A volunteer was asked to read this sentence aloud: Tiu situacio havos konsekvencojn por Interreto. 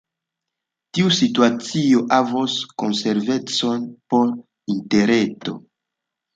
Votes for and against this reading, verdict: 2, 1, accepted